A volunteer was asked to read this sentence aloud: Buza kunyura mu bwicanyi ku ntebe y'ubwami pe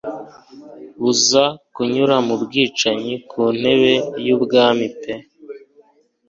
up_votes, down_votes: 2, 0